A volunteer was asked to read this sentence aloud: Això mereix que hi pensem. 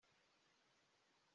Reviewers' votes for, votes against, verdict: 0, 2, rejected